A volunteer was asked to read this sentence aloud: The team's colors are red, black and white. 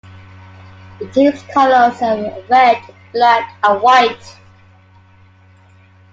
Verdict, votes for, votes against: accepted, 2, 1